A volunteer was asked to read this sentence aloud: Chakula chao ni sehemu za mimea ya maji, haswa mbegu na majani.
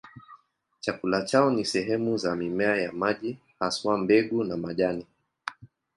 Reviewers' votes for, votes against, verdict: 2, 0, accepted